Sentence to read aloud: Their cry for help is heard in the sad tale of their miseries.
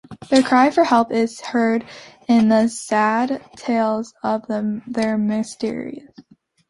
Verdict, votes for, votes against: rejected, 0, 2